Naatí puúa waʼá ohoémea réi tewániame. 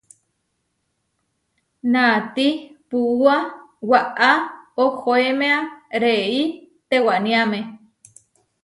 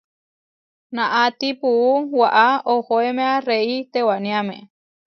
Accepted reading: first